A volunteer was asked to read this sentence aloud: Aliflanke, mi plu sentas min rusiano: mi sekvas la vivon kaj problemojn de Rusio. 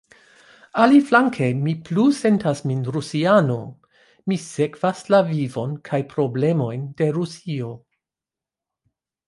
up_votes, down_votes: 2, 0